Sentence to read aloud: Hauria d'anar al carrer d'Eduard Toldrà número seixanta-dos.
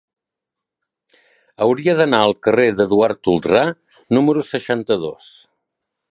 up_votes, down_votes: 2, 0